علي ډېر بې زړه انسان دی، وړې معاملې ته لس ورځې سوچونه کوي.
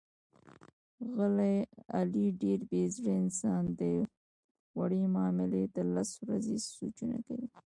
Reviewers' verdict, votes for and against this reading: rejected, 1, 2